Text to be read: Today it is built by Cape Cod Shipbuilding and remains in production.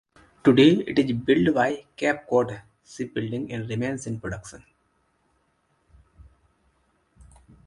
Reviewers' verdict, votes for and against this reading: rejected, 0, 2